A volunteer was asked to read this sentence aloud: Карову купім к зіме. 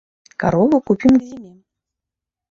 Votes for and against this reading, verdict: 0, 2, rejected